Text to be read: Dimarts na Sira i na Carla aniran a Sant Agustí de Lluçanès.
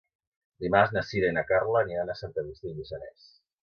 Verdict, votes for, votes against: rejected, 2, 3